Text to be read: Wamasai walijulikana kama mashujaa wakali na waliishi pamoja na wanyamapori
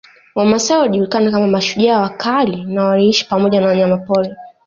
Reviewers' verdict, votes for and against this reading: rejected, 0, 2